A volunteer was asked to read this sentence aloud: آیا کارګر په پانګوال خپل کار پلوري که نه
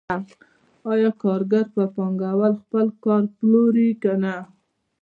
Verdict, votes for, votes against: accepted, 2, 1